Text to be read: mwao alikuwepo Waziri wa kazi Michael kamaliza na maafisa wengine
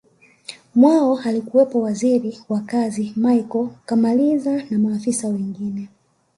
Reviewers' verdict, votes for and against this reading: rejected, 1, 2